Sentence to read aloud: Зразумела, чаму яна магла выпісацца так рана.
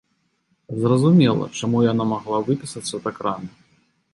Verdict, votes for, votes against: accepted, 2, 0